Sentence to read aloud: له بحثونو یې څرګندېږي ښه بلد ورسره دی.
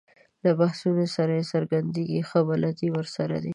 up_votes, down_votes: 0, 2